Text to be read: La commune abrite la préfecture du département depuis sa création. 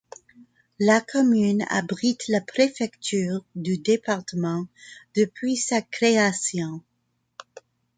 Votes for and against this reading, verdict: 2, 0, accepted